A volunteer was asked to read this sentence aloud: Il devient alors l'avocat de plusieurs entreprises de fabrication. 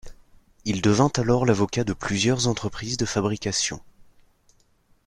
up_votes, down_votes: 0, 2